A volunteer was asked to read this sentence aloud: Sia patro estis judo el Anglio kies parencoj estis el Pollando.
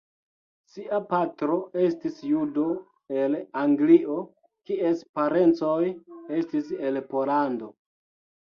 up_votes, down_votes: 0, 2